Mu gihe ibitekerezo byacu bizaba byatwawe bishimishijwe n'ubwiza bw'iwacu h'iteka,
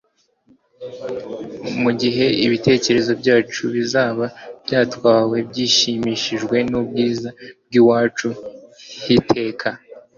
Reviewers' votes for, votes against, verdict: 0, 2, rejected